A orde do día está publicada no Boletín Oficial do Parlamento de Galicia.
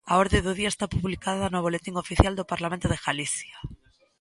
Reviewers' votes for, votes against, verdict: 2, 0, accepted